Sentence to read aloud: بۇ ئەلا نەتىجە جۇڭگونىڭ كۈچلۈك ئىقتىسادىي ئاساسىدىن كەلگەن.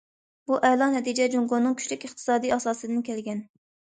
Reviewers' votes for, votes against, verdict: 2, 0, accepted